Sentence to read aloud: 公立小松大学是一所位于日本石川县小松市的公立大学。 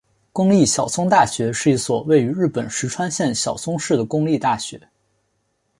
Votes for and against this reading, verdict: 2, 0, accepted